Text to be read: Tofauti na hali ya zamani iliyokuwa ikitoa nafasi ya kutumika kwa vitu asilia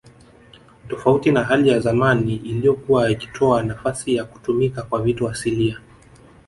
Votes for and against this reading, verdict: 0, 2, rejected